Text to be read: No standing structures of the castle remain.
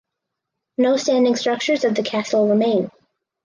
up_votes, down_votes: 4, 0